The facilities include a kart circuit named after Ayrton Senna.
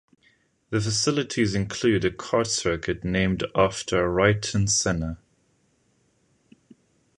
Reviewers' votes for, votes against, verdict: 0, 2, rejected